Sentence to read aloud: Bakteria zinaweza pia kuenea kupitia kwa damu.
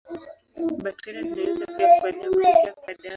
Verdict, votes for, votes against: rejected, 4, 9